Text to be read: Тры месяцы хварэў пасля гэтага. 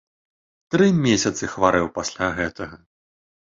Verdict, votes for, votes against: accepted, 2, 0